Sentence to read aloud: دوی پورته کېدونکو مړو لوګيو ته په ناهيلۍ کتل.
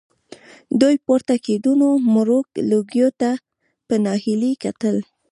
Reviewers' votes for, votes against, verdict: 0, 2, rejected